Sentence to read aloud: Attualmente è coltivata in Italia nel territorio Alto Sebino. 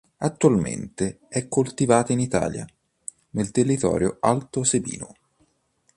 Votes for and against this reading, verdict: 2, 0, accepted